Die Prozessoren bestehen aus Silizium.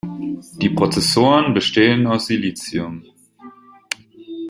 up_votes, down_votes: 0, 2